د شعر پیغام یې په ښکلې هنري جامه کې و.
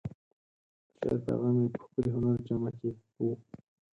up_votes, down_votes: 0, 4